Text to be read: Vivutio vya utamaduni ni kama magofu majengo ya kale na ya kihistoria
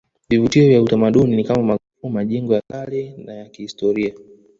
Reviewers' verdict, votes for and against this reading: rejected, 1, 2